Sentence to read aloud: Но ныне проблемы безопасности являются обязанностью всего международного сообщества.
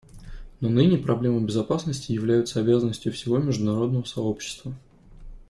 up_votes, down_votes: 2, 0